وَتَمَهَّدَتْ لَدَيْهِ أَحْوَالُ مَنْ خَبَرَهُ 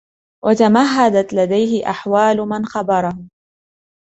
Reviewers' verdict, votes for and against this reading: accepted, 2, 0